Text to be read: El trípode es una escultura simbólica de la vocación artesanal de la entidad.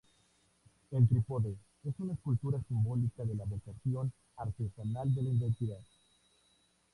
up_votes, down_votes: 0, 4